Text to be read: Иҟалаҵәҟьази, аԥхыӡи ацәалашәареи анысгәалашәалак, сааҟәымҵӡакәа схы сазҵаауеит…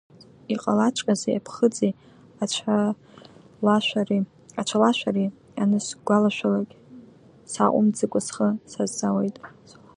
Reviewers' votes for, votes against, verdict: 0, 2, rejected